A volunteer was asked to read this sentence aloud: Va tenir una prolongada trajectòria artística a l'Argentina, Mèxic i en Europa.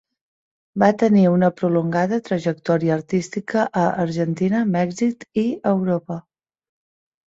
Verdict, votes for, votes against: rejected, 1, 2